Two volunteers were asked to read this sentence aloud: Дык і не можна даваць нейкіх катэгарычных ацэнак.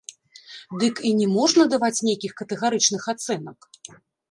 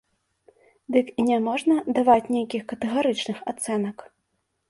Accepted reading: second